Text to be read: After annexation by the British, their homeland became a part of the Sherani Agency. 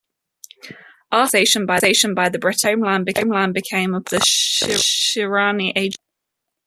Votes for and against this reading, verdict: 0, 2, rejected